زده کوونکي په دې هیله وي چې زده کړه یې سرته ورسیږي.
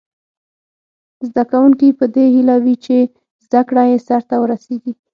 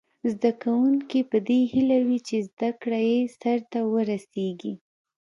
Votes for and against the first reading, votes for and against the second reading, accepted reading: 3, 6, 2, 0, second